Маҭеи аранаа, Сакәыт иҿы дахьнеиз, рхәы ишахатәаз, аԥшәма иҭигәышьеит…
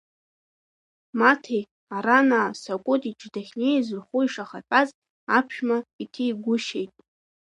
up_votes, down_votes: 1, 2